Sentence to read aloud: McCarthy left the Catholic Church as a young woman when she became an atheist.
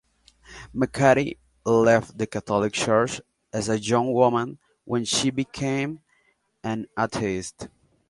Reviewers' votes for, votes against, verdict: 2, 0, accepted